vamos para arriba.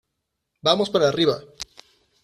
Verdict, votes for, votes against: accepted, 2, 0